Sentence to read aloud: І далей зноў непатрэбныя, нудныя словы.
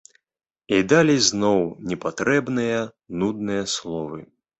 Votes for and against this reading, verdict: 2, 0, accepted